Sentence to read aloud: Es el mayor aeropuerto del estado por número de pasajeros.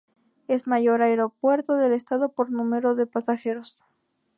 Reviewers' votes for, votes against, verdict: 0, 2, rejected